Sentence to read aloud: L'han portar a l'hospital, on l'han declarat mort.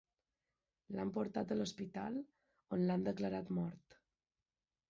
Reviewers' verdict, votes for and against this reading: rejected, 1, 2